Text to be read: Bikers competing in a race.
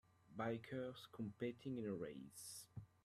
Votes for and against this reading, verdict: 2, 0, accepted